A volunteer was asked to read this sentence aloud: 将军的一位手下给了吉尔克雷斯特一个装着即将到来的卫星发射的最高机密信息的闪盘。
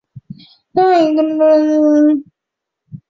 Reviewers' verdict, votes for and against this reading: rejected, 0, 4